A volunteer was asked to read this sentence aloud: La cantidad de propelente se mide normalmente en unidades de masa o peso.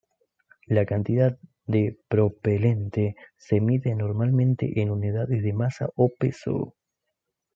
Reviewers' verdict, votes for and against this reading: rejected, 0, 2